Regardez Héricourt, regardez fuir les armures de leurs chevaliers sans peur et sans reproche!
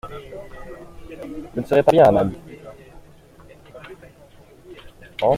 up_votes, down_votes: 0, 2